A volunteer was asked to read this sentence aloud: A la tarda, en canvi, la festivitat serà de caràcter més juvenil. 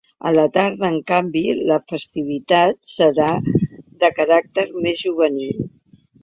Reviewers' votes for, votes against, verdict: 3, 0, accepted